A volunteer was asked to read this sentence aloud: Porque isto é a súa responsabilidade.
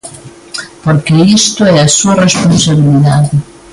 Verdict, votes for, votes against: accepted, 2, 0